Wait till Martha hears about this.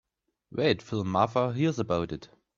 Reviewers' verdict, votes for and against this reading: rejected, 0, 2